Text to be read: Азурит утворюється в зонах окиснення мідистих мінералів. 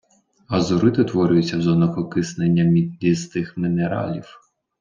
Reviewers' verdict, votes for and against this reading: rejected, 1, 2